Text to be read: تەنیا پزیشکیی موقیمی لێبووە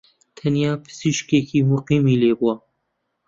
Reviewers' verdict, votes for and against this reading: rejected, 0, 2